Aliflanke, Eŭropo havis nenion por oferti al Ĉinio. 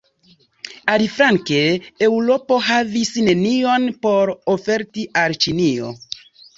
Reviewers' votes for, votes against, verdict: 1, 2, rejected